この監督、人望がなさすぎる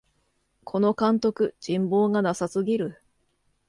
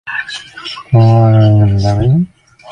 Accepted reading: first